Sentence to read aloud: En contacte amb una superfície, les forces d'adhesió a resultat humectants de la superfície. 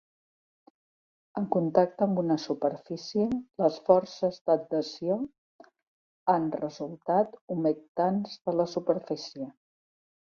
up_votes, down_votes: 0, 2